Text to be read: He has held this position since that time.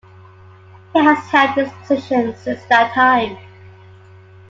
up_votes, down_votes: 2, 0